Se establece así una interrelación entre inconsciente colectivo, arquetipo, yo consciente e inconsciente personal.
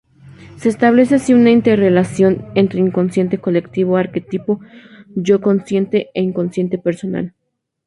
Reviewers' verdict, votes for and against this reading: accepted, 2, 0